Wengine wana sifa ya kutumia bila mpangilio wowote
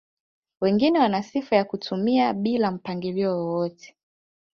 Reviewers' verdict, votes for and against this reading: rejected, 0, 2